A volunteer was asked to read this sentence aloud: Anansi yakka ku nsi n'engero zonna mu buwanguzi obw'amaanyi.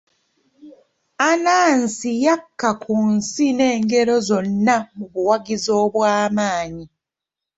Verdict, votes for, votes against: accepted, 2, 0